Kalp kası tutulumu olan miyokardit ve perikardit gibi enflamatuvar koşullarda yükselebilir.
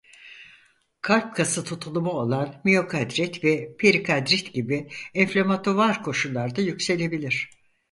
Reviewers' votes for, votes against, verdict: 2, 4, rejected